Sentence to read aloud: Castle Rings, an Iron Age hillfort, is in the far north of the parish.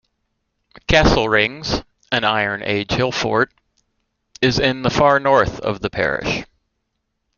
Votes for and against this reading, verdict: 2, 0, accepted